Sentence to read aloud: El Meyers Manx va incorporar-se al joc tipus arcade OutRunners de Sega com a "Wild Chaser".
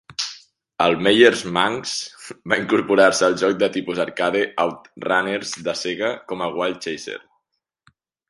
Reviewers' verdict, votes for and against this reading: rejected, 0, 2